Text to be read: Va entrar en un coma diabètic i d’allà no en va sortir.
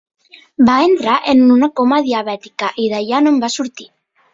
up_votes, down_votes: 0, 3